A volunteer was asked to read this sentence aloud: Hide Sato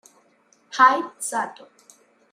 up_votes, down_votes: 2, 1